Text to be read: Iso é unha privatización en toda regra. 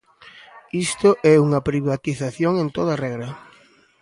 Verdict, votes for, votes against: rejected, 1, 2